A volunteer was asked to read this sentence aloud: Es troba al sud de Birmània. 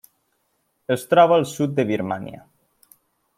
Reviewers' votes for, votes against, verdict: 2, 1, accepted